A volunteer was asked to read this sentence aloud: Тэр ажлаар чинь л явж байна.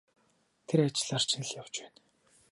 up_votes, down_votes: 0, 2